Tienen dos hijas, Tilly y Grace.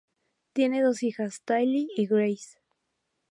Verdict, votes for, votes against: accepted, 2, 0